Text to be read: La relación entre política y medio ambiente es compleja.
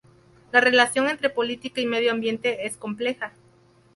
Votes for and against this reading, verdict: 2, 2, rejected